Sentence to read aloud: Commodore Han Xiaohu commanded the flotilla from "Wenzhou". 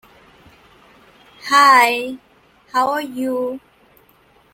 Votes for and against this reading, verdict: 0, 2, rejected